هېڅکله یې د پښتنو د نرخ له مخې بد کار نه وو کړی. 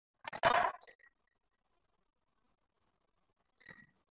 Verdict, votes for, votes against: accepted, 4, 2